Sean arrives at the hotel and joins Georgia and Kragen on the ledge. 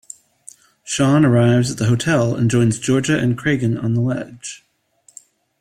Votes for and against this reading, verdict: 2, 0, accepted